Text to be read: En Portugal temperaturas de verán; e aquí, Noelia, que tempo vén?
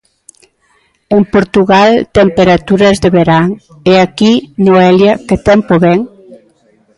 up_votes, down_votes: 0, 2